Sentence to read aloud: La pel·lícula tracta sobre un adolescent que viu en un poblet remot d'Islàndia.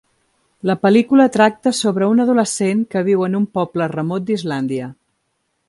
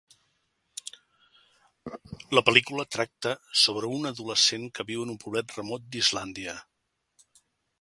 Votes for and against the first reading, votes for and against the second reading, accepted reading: 1, 2, 2, 0, second